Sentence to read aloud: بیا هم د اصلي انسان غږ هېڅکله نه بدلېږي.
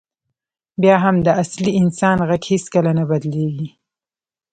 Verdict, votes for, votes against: accepted, 2, 0